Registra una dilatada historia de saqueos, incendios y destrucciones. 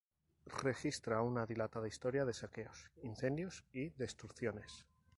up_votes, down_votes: 0, 2